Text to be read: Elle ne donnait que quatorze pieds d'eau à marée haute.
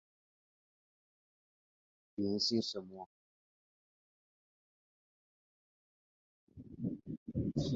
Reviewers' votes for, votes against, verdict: 0, 3, rejected